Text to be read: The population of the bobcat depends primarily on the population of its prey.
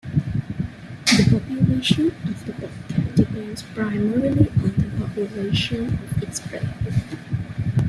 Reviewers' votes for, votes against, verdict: 0, 2, rejected